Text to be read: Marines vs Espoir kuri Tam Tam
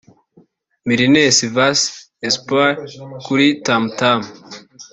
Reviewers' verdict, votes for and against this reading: rejected, 0, 2